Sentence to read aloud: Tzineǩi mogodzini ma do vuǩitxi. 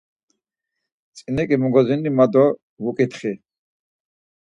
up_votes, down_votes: 4, 0